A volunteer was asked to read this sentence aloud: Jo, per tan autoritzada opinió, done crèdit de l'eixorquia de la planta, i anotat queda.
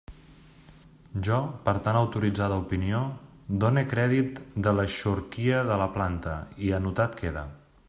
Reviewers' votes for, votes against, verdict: 2, 0, accepted